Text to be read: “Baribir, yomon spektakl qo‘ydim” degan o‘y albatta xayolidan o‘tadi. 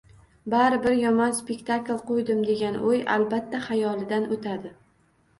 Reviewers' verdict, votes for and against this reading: rejected, 1, 2